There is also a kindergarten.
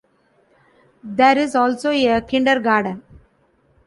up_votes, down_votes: 0, 2